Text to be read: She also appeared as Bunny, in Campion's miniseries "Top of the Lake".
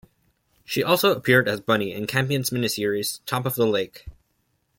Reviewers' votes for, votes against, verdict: 2, 0, accepted